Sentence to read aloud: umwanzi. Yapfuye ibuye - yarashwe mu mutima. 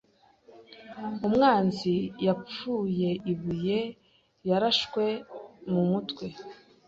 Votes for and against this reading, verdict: 1, 2, rejected